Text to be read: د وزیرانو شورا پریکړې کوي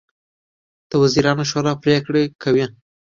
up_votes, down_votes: 2, 1